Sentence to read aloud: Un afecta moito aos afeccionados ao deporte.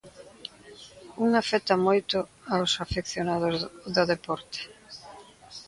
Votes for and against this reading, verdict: 0, 2, rejected